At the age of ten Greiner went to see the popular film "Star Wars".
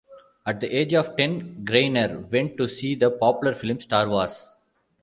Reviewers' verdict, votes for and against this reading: accepted, 2, 0